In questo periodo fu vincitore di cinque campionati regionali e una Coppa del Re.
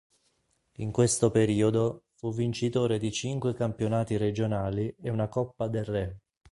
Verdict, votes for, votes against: accepted, 2, 0